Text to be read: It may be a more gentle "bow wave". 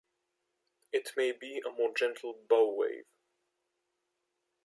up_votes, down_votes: 2, 0